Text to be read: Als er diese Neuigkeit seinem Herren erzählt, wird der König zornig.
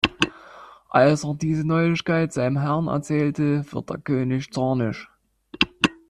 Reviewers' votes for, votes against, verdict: 1, 2, rejected